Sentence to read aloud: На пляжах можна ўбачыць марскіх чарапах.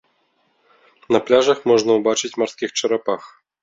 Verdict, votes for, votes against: accepted, 2, 0